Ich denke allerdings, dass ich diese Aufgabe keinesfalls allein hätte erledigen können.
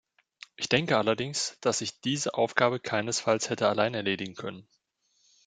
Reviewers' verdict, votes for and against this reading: rejected, 1, 2